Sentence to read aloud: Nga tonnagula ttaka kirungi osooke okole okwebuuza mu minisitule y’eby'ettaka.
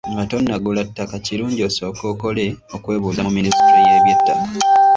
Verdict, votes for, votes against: accepted, 2, 1